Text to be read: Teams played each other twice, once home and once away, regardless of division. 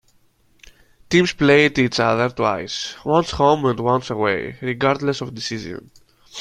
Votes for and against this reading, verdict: 0, 2, rejected